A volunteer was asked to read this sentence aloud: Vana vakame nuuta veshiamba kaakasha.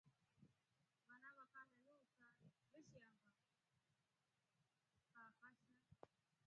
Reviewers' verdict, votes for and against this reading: rejected, 0, 2